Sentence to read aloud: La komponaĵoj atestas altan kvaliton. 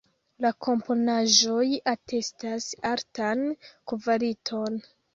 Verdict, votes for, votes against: rejected, 0, 2